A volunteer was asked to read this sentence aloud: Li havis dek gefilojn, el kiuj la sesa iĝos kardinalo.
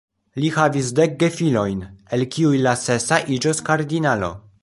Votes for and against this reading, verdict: 0, 2, rejected